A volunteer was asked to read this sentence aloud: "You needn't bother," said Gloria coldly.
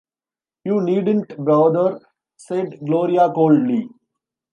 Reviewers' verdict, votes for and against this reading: rejected, 1, 2